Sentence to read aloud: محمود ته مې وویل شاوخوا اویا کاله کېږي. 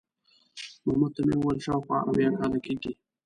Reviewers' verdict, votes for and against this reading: rejected, 1, 2